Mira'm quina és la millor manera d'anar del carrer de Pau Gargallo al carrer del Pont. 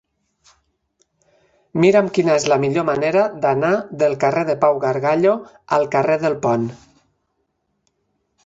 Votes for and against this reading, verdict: 4, 0, accepted